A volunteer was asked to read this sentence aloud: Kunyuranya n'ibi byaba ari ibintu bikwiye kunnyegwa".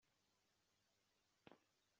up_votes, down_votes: 0, 2